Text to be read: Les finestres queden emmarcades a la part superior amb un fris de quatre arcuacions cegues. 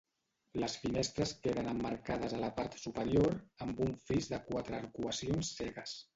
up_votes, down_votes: 1, 2